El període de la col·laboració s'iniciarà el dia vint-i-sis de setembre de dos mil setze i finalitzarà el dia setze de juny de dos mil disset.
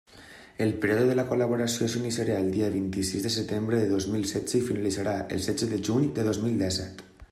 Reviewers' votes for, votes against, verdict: 0, 2, rejected